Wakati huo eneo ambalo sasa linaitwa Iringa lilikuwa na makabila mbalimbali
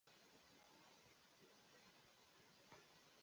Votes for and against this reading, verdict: 2, 0, accepted